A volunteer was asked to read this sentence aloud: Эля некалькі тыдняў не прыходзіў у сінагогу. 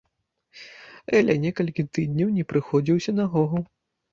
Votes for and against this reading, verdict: 2, 1, accepted